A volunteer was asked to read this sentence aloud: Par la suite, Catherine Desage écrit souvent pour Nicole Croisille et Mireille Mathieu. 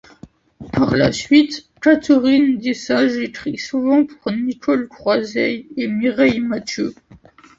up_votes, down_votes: 2, 1